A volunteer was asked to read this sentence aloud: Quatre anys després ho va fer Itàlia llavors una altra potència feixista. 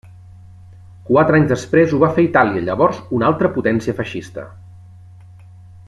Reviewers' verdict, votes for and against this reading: accepted, 2, 0